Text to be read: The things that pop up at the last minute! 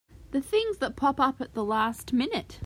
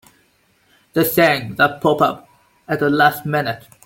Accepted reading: first